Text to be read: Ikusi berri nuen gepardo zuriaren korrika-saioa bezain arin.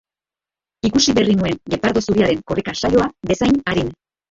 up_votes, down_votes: 2, 1